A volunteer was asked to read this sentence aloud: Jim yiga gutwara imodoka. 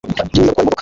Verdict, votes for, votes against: rejected, 0, 2